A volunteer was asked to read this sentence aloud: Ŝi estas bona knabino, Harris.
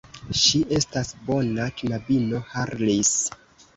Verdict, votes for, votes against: rejected, 1, 2